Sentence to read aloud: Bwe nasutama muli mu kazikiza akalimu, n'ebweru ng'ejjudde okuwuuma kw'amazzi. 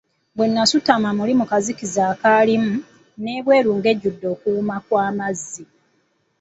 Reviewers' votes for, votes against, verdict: 2, 0, accepted